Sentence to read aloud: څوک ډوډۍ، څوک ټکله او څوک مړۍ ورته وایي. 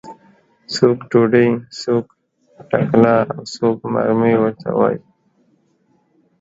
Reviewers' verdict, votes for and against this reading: rejected, 0, 2